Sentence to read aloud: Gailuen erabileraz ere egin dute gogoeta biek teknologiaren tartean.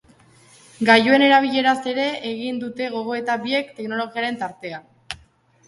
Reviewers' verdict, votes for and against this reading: rejected, 1, 2